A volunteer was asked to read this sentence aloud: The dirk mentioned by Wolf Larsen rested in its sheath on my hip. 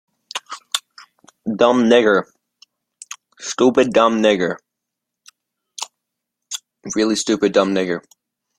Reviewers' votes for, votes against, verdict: 0, 2, rejected